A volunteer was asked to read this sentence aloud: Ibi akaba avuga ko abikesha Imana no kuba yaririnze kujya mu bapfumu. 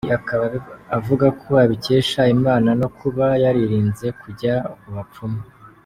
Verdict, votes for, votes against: rejected, 1, 2